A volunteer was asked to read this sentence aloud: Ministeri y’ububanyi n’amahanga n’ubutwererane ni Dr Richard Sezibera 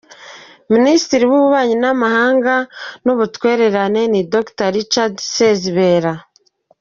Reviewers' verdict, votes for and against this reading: rejected, 1, 2